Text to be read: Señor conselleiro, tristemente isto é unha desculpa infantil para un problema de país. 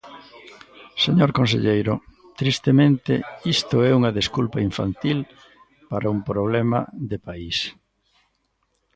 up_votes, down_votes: 1, 2